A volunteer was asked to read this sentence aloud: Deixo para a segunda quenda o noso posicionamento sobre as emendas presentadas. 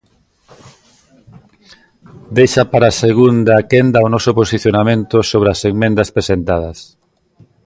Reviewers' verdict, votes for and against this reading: rejected, 0, 2